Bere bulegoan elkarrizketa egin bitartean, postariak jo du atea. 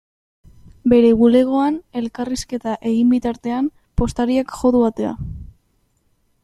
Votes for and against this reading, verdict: 2, 0, accepted